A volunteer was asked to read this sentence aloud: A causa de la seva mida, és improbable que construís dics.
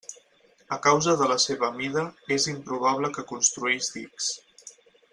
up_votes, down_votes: 4, 0